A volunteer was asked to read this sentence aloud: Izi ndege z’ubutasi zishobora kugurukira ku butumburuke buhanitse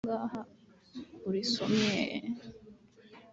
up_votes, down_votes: 1, 2